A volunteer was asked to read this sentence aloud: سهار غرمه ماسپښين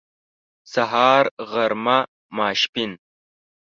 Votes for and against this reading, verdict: 1, 2, rejected